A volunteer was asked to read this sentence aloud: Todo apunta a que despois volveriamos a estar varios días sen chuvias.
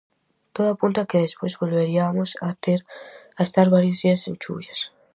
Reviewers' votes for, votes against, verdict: 0, 4, rejected